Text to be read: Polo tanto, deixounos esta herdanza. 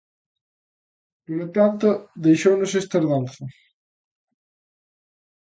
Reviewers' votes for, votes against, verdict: 2, 0, accepted